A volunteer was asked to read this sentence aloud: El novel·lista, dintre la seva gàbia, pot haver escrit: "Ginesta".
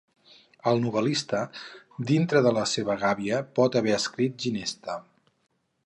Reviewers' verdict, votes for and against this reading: rejected, 0, 4